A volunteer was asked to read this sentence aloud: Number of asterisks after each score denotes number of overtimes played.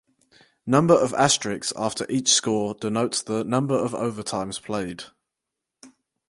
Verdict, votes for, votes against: rejected, 2, 4